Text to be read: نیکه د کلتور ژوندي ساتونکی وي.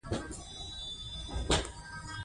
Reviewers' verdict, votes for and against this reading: rejected, 1, 2